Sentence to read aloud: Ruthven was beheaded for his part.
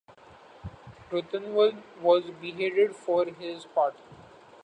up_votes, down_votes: 0, 2